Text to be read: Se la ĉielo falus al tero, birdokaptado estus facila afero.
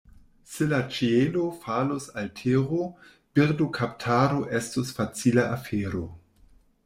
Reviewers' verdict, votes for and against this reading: rejected, 1, 2